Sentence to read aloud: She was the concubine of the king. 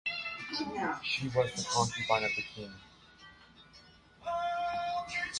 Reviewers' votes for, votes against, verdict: 1, 2, rejected